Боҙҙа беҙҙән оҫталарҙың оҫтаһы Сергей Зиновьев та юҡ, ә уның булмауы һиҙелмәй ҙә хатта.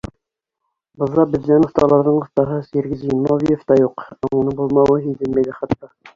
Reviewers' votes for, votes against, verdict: 1, 2, rejected